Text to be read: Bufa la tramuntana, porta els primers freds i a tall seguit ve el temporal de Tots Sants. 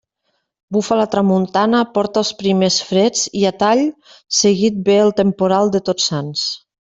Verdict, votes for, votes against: accepted, 2, 0